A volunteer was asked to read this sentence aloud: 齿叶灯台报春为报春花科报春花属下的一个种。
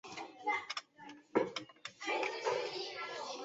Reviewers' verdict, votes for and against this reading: rejected, 0, 2